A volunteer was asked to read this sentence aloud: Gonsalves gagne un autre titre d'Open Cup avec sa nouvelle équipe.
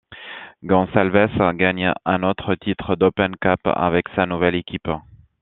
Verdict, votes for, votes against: accepted, 2, 0